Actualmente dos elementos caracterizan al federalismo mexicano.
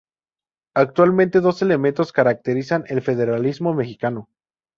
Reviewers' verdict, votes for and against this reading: rejected, 0, 2